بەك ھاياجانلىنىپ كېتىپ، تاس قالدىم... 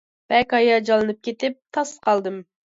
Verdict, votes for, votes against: accepted, 2, 0